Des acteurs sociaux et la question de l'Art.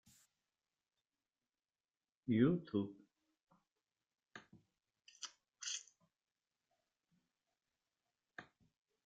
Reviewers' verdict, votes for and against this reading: rejected, 0, 2